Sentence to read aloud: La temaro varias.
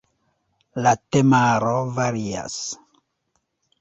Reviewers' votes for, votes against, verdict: 1, 2, rejected